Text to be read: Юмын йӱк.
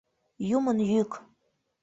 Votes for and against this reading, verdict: 2, 0, accepted